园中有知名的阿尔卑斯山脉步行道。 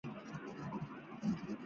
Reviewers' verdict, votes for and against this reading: rejected, 5, 6